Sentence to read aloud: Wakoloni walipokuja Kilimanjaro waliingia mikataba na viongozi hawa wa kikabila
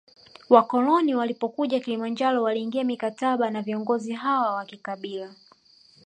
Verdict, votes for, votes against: accepted, 2, 1